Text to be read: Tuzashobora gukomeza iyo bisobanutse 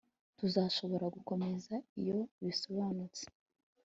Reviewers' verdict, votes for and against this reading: accepted, 2, 0